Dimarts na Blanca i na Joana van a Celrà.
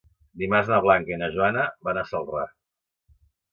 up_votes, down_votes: 2, 0